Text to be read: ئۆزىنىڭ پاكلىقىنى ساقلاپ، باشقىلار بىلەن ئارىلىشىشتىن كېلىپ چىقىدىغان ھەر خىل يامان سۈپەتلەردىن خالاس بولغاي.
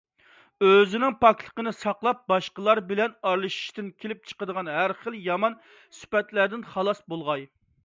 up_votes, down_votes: 2, 0